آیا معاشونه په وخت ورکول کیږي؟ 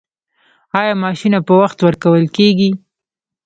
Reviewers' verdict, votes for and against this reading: rejected, 1, 2